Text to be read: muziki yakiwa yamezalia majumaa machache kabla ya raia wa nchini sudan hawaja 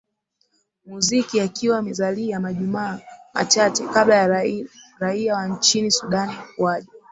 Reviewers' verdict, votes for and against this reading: rejected, 0, 2